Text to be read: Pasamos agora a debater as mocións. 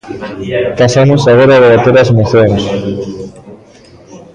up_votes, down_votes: 0, 2